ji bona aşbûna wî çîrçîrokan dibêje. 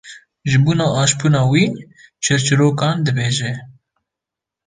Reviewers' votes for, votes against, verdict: 1, 2, rejected